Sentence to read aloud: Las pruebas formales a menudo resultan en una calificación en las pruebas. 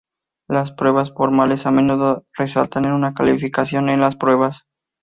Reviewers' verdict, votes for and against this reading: accepted, 2, 0